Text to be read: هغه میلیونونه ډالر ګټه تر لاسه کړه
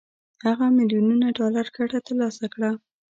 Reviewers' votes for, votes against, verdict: 0, 3, rejected